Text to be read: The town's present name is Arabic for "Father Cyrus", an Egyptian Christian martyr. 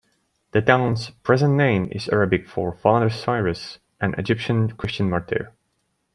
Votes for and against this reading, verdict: 2, 0, accepted